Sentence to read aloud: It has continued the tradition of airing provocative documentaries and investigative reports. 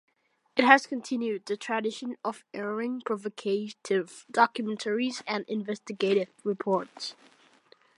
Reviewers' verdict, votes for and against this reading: rejected, 1, 2